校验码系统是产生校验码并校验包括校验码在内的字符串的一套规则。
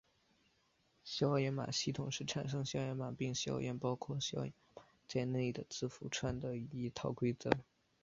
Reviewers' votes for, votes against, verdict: 0, 3, rejected